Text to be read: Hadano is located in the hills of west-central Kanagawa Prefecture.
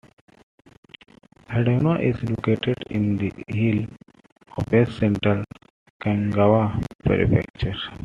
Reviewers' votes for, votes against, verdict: 1, 2, rejected